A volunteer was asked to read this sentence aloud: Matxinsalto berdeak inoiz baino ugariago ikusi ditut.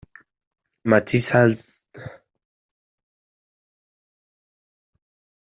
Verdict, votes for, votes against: rejected, 0, 2